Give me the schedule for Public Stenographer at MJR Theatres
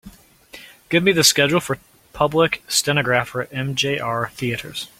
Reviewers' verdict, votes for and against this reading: rejected, 1, 2